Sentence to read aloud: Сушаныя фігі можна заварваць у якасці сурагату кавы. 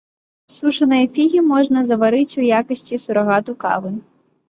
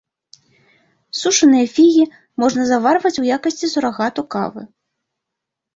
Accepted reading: second